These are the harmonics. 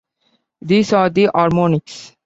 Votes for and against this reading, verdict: 2, 0, accepted